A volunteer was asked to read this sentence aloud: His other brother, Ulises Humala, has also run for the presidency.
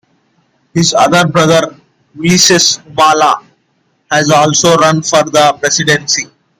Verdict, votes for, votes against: accepted, 2, 1